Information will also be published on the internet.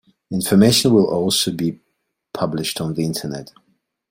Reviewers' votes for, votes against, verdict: 2, 0, accepted